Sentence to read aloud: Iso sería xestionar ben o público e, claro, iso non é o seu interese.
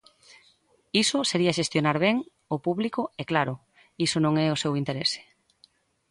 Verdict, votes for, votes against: accepted, 2, 0